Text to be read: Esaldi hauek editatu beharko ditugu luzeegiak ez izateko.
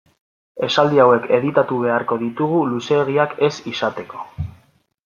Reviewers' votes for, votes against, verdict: 2, 0, accepted